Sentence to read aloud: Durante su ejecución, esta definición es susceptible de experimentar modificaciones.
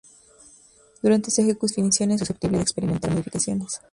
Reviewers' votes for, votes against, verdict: 0, 2, rejected